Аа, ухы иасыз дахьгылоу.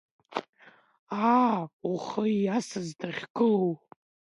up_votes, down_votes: 2, 0